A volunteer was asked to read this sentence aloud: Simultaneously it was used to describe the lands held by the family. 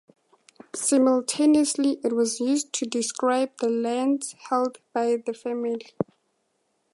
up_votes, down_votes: 4, 2